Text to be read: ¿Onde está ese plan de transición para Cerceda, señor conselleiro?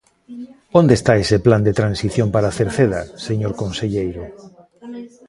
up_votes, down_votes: 0, 2